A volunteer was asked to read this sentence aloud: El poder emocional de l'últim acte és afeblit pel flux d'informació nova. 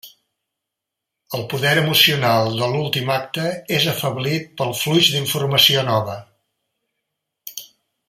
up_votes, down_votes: 1, 2